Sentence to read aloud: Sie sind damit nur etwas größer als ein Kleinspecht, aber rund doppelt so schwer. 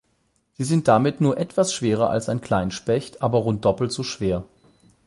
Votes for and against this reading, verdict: 0, 8, rejected